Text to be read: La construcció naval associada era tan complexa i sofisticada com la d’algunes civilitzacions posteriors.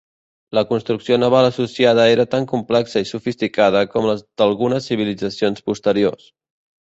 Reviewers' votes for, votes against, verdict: 1, 2, rejected